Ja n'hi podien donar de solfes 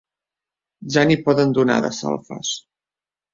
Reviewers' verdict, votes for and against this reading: rejected, 0, 2